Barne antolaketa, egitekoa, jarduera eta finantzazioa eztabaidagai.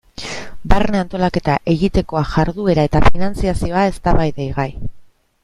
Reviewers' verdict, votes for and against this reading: rejected, 1, 2